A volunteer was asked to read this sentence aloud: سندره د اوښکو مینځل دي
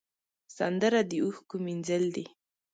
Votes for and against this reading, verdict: 2, 0, accepted